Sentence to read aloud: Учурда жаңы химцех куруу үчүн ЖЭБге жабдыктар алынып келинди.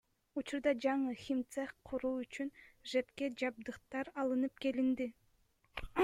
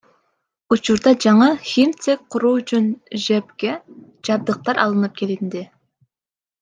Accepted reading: second